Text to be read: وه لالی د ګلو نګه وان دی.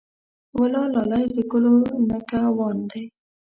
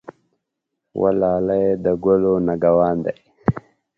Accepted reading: second